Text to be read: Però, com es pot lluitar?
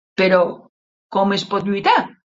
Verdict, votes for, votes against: accepted, 3, 0